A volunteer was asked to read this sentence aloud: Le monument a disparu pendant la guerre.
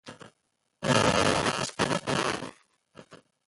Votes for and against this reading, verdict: 0, 2, rejected